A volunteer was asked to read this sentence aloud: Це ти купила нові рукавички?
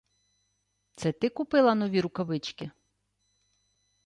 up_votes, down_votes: 2, 0